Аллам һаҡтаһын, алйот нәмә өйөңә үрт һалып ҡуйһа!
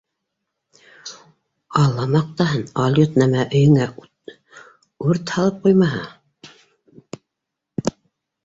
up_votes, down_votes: 1, 2